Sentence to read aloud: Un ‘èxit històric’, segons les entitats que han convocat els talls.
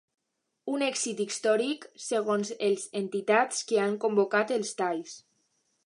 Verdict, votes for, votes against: rejected, 0, 2